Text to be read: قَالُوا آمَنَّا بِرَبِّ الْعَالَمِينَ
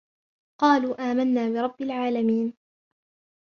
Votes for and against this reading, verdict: 0, 2, rejected